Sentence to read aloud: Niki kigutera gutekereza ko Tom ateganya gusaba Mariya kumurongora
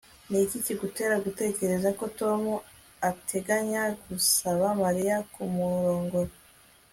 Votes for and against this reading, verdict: 1, 2, rejected